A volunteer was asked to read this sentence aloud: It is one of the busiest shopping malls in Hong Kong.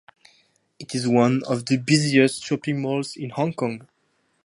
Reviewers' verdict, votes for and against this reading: accepted, 2, 0